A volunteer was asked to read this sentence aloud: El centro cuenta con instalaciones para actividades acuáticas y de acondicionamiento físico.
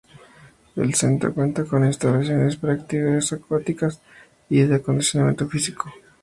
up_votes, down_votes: 4, 0